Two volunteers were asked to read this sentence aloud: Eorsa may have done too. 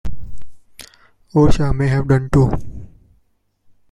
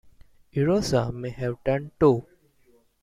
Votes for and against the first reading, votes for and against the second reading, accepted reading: 2, 0, 0, 2, first